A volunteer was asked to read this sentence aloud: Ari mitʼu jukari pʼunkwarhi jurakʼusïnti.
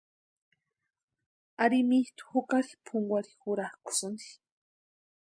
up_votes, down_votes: 2, 0